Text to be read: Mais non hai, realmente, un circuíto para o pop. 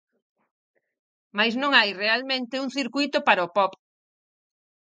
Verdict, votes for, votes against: accepted, 4, 0